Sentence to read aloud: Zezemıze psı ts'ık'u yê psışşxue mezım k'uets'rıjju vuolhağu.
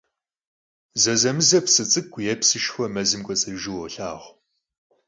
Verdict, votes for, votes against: accepted, 4, 0